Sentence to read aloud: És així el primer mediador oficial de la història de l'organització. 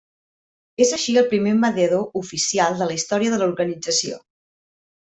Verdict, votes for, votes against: accepted, 2, 0